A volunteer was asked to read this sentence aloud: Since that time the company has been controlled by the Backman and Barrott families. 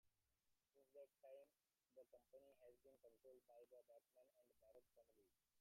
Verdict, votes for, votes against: rejected, 0, 2